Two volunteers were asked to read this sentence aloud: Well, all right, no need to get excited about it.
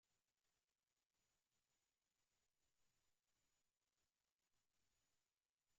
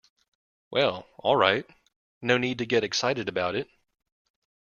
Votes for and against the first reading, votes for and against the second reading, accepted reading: 0, 2, 2, 0, second